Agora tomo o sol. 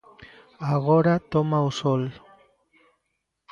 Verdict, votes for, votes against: rejected, 0, 2